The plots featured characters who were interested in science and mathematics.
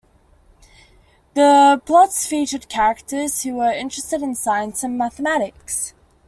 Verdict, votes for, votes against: accepted, 2, 0